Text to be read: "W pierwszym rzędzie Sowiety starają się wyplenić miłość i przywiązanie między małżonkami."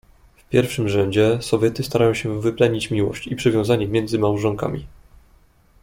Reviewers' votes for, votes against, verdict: 2, 0, accepted